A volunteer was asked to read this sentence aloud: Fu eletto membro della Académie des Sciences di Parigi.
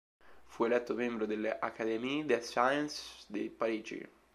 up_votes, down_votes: 2, 3